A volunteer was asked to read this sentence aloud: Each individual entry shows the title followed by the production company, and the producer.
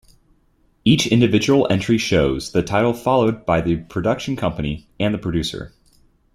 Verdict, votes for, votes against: accepted, 2, 0